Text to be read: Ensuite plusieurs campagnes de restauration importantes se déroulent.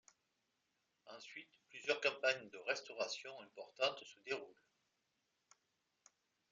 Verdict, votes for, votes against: rejected, 1, 2